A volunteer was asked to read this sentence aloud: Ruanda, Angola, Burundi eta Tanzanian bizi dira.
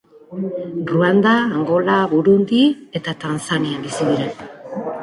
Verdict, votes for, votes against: accepted, 5, 0